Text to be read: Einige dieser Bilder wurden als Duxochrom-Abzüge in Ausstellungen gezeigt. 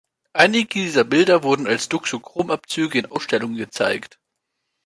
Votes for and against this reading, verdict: 1, 3, rejected